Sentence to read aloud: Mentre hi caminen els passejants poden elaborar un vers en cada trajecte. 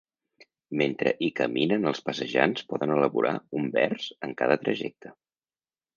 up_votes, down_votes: 4, 0